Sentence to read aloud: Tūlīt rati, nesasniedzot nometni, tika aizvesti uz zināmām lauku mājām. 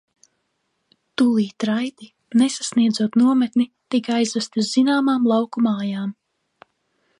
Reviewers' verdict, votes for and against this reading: rejected, 1, 2